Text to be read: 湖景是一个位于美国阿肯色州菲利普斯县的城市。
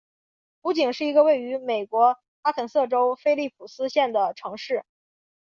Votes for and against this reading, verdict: 2, 1, accepted